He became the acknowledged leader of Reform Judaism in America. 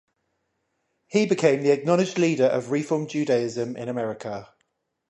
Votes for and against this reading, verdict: 10, 0, accepted